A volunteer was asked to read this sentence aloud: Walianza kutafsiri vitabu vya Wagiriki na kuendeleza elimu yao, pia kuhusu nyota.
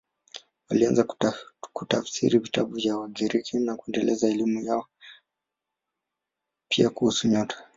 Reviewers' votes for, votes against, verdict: 0, 2, rejected